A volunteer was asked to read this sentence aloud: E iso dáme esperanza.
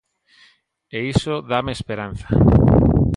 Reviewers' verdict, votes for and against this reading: accepted, 2, 0